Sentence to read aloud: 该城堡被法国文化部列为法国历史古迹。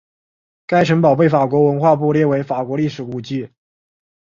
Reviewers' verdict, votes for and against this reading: accepted, 4, 0